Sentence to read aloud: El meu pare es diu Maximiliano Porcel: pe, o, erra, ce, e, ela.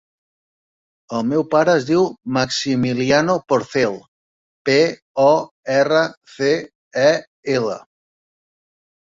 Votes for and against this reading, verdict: 0, 2, rejected